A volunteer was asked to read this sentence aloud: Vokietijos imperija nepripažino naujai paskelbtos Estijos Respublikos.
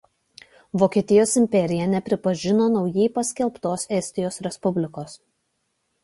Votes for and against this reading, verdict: 2, 0, accepted